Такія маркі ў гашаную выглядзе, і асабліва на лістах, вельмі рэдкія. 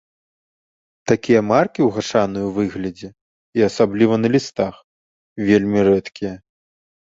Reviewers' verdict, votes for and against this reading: rejected, 1, 2